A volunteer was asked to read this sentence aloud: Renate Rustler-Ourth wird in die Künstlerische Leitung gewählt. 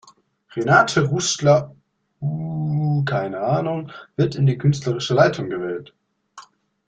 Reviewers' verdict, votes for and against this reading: rejected, 0, 2